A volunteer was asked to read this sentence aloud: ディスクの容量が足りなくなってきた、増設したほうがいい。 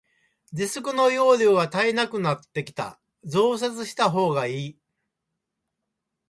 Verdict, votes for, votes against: rejected, 1, 2